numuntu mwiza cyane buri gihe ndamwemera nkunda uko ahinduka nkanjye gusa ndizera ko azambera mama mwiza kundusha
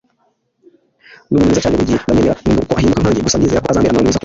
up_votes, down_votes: 1, 2